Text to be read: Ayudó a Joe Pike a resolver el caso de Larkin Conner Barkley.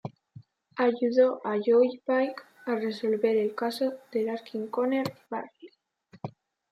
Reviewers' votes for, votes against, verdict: 0, 2, rejected